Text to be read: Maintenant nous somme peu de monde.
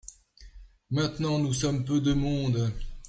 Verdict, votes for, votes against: accepted, 2, 0